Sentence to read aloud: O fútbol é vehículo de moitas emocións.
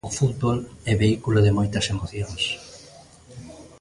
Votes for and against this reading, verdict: 1, 2, rejected